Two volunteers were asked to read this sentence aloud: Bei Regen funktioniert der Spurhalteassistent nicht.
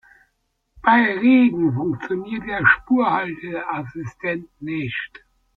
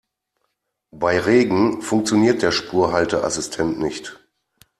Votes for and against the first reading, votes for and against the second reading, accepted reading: 1, 2, 2, 0, second